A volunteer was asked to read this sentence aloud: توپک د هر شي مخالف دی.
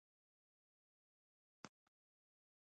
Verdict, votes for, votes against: accepted, 2, 0